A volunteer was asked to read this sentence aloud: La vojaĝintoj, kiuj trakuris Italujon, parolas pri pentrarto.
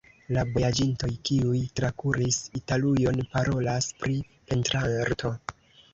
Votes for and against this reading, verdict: 1, 2, rejected